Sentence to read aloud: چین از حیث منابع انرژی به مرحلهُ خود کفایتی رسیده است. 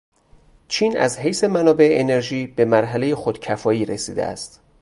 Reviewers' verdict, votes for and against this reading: rejected, 0, 2